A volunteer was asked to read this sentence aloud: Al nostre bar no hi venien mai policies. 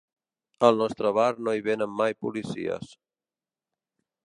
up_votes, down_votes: 0, 2